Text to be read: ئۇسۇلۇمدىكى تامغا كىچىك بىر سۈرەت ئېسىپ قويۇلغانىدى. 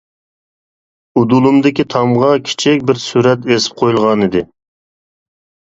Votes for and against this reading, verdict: 1, 2, rejected